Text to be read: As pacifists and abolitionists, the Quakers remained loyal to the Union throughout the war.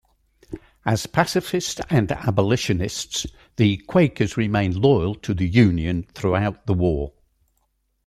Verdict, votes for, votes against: rejected, 0, 2